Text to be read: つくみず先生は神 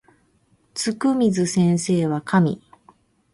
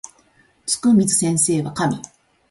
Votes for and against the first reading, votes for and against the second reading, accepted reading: 0, 2, 2, 0, second